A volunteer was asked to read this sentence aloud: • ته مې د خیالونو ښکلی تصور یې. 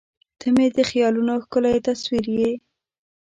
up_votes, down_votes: 2, 0